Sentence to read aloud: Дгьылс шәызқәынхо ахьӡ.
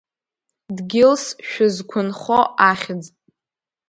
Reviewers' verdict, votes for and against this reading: rejected, 1, 2